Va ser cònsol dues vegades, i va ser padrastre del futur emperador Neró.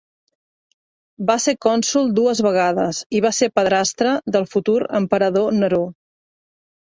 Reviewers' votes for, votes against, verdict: 3, 0, accepted